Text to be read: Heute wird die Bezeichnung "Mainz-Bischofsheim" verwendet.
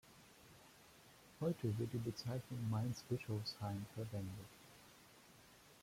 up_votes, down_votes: 2, 0